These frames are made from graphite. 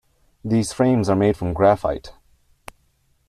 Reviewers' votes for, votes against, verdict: 2, 0, accepted